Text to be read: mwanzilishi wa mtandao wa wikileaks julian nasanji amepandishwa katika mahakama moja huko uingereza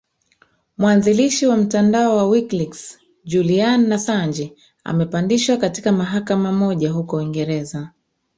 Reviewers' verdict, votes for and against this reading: rejected, 0, 2